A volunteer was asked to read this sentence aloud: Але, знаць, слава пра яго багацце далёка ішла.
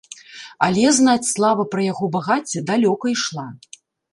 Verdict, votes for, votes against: accepted, 2, 0